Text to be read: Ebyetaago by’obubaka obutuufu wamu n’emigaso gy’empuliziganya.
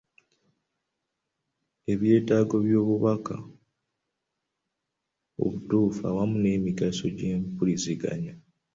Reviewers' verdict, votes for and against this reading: accepted, 2, 1